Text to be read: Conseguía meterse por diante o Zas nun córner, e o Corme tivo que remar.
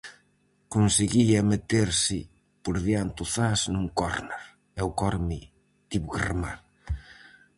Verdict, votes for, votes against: rejected, 2, 2